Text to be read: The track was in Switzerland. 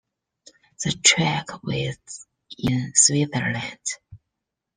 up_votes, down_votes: 0, 2